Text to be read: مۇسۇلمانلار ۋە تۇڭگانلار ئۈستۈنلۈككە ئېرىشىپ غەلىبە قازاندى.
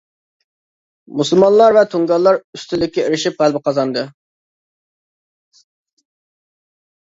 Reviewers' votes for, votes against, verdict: 1, 2, rejected